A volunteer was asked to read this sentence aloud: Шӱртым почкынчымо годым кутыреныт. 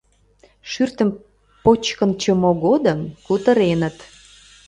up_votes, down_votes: 2, 0